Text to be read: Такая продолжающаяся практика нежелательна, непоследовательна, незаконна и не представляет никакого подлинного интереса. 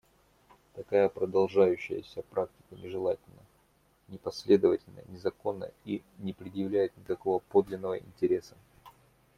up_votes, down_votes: 0, 2